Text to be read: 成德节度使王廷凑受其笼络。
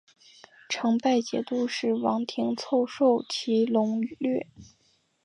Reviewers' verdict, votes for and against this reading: rejected, 0, 2